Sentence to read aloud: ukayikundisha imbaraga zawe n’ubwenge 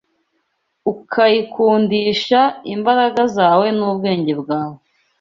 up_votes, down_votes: 1, 2